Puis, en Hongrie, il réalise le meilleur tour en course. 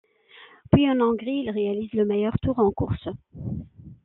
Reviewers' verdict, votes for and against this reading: accepted, 2, 1